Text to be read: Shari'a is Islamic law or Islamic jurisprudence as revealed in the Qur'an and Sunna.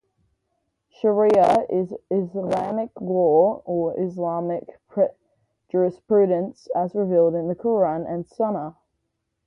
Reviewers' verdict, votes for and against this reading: accepted, 2, 0